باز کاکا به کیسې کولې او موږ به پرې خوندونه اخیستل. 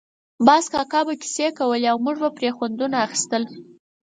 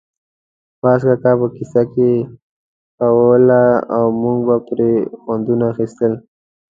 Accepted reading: first